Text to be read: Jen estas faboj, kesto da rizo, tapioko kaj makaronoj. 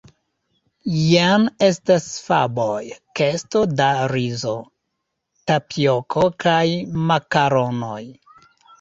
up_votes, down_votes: 0, 2